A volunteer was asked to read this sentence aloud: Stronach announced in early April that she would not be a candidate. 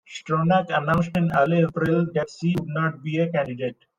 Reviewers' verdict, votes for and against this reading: accepted, 2, 0